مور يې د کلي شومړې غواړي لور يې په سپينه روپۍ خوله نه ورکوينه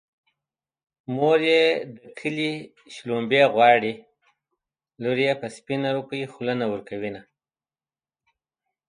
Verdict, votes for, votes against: accepted, 2, 0